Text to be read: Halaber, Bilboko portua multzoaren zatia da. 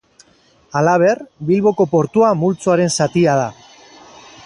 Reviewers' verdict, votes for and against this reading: rejected, 2, 2